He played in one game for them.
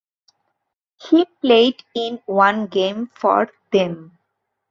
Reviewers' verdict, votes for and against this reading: accepted, 2, 0